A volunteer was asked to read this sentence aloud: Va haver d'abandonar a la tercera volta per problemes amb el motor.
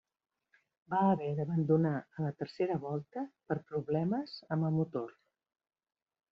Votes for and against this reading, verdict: 1, 2, rejected